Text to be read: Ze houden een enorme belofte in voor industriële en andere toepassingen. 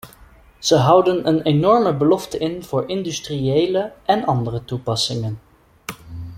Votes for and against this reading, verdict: 2, 0, accepted